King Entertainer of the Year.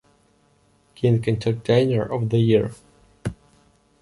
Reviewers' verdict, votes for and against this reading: accepted, 2, 0